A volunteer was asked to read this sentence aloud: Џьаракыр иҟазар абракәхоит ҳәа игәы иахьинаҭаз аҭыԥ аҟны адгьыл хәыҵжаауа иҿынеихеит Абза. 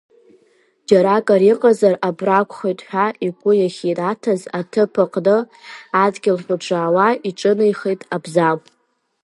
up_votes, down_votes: 0, 2